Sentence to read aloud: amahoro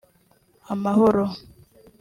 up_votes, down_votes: 2, 1